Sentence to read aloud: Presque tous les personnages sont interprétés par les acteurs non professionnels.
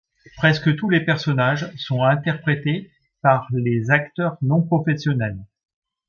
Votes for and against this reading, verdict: 2, 0, accepted